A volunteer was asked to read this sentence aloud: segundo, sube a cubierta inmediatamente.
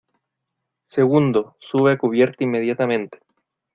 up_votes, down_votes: 2, 0